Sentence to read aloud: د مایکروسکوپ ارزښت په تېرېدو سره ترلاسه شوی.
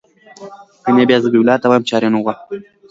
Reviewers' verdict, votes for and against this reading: accepted, 2, 1